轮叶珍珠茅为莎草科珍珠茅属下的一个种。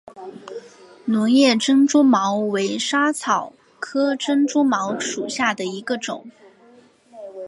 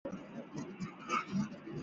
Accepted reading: first